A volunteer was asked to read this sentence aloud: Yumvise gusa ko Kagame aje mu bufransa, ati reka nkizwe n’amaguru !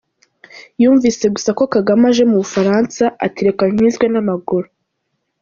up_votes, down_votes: 2, 0